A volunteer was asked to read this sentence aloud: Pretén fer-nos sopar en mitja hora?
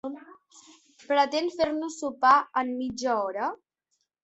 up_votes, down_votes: 3, 0